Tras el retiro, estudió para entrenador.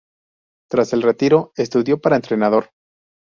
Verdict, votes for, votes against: accepted, 4, 0